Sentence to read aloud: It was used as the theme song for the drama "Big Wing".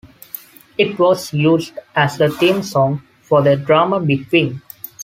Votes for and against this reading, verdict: 2, 0, accepted